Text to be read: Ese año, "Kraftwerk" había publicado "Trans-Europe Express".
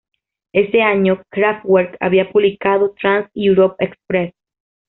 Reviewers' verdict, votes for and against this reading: accepted, 2, 1